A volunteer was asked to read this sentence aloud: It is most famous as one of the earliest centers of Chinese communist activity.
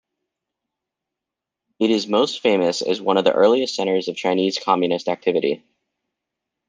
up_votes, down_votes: 2, 0